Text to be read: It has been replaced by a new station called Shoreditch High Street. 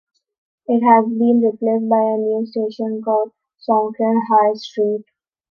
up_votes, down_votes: 0, 3